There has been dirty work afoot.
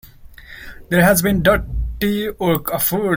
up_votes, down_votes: 0, 2